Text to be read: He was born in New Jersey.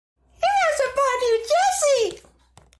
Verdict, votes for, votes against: rejected, 1, 2